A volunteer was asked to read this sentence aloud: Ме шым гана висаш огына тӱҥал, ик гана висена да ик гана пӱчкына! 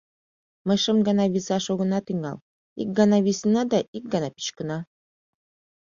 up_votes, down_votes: 1, 2